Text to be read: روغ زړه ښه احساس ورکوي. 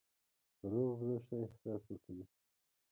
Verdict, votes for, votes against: accepted, 5, 4